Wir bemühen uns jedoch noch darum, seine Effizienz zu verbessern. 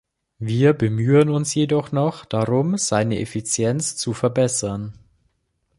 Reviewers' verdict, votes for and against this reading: accepted, 3, 0